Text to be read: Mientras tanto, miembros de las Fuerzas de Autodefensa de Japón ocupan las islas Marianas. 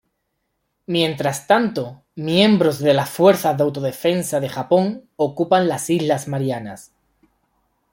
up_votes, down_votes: 2, 0